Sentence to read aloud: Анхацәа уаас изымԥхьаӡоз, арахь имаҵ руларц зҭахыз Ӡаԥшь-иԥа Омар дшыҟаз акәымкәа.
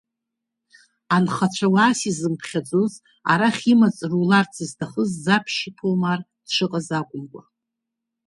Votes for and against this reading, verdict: 0, 2, rejected